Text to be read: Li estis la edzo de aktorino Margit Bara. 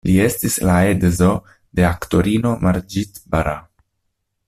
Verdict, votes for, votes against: rejected, 0, 2